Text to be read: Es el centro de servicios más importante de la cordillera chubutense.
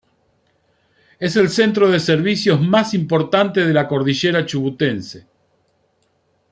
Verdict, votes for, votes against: accepted, 2, 0